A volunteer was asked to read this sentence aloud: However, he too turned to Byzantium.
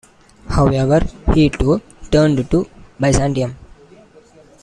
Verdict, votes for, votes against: accepted, 2, 0